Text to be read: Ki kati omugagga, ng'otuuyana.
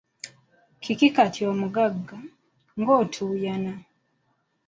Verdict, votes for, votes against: rejected, 1, 2